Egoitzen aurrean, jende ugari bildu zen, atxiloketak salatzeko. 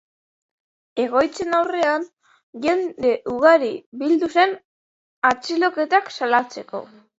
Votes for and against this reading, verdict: 3, 0, accepted